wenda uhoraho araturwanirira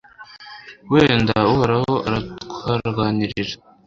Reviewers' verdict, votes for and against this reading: rejected, 1, 2